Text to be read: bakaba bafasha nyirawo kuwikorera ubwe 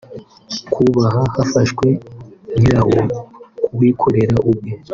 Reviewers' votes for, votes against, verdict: 0, 2, rejected